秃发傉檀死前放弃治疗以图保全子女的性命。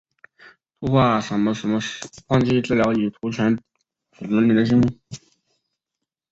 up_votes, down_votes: 0, 2